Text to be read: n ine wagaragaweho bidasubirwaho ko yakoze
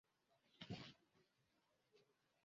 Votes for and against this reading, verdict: 0, 2, rejected